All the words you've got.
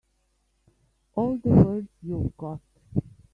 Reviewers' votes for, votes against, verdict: 1, 3, rejected